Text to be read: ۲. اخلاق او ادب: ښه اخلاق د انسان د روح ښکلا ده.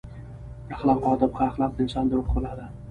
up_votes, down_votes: 0, 2